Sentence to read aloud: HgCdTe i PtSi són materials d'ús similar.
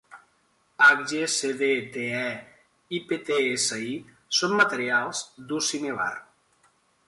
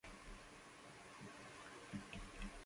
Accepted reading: first